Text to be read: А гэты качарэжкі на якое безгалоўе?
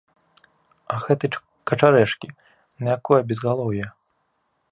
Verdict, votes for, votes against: rejected, 0, 2